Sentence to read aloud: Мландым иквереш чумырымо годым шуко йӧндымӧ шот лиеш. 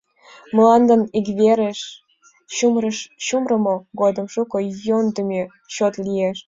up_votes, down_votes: 2, 1